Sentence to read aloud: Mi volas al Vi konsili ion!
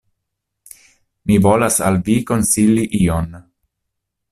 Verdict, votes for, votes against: accepted, 2, 0